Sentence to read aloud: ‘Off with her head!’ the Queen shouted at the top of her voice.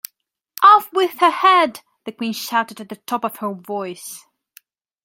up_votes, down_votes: 2, 0